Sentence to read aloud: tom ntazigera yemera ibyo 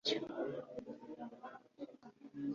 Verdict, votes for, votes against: rejected, 0, 2